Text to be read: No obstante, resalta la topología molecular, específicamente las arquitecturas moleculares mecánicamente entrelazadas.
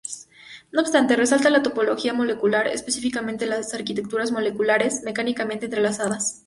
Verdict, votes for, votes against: accepted, 2, 0